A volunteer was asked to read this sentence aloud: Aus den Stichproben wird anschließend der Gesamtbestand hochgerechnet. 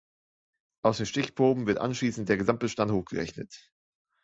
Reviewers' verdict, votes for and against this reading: accepted, 2, 1